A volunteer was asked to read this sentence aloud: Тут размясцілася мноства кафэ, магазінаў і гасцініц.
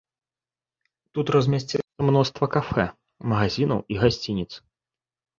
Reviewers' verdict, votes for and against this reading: rejected, 1, 2